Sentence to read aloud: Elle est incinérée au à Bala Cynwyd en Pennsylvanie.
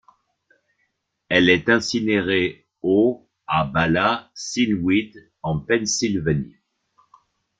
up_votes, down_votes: 1, 2